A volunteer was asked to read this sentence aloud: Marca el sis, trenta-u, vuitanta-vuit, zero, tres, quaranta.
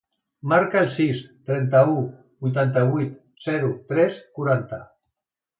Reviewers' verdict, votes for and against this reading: accepted, 2, 0